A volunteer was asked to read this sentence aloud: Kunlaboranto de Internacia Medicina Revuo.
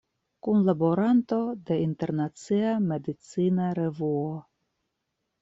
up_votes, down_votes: 2, 0